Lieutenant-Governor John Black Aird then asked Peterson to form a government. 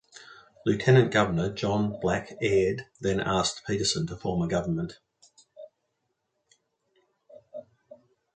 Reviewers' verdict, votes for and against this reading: accepted, 2, 0